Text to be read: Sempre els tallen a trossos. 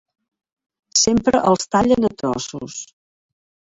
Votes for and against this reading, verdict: 0, 2, rejected